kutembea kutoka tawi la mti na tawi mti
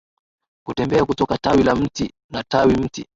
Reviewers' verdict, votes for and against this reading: accepted, 2, 0